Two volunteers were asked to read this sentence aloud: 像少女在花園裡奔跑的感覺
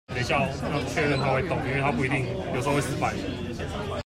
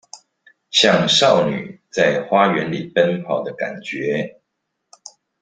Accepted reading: second